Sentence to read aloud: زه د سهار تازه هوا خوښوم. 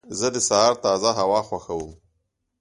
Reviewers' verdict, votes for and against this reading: accepted, 2, 0